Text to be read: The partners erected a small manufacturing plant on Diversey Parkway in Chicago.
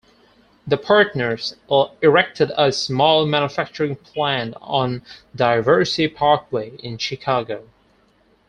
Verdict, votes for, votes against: rejected, 2, 4